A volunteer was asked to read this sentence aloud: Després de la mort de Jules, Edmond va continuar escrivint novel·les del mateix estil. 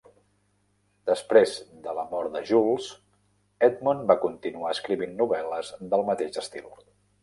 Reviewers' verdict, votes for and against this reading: accepted, 2, 0